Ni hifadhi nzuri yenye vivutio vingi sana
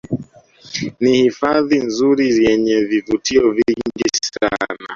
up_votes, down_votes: 0, 2